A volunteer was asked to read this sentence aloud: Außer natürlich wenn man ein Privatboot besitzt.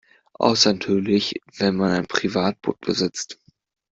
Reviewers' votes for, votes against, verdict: 1, 2, rejected